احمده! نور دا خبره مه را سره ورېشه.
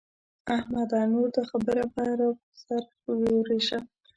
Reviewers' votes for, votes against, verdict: 1, 2, rejected